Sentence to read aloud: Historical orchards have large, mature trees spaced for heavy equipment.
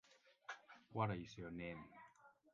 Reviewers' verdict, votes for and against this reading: rejected, 0, 2